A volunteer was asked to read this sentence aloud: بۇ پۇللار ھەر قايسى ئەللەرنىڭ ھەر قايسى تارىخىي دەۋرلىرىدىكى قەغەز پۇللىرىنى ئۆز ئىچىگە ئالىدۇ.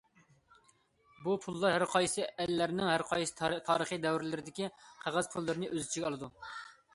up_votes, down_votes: 2, 1